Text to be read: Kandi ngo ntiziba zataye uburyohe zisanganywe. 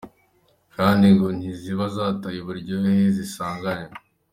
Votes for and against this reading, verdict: 2, 0, accepted